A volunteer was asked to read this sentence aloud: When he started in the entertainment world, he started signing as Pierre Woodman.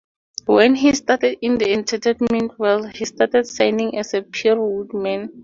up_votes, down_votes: 0, 4